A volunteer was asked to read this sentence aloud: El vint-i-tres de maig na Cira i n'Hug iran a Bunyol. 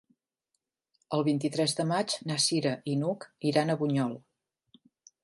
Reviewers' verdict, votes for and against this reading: accepted, 4, 0